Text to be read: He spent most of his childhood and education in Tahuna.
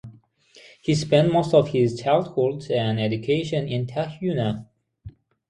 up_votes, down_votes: 6, 0